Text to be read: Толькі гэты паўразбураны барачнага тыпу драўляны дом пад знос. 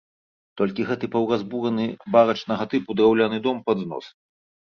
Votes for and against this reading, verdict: 1, 2, rejected